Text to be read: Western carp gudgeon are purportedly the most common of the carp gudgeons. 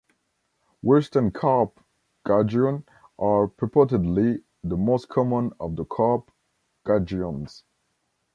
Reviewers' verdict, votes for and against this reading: rejected, 1, 2